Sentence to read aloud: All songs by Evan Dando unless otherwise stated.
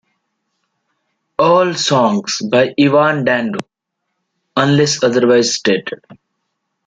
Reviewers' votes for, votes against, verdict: 2, 1, accepted